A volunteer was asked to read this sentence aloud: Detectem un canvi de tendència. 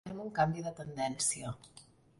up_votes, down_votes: 0, 2